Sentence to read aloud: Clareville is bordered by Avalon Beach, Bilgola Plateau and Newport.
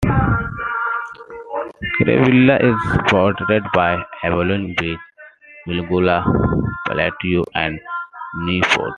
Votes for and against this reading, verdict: 1, 2, rejected